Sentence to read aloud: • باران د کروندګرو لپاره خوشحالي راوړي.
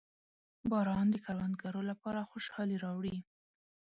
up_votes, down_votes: 1, 2